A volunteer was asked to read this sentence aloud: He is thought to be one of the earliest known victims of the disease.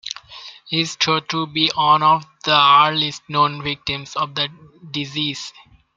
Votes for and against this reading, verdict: 2, 0, accepted